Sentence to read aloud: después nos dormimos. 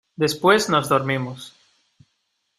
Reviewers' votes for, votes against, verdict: 2, 0, accepted